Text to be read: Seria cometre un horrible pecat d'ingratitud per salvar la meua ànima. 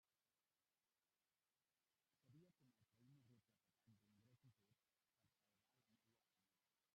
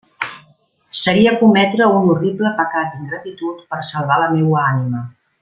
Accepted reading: second